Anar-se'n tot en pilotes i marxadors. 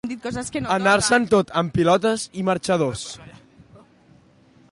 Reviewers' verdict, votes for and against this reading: rejected, 0, 2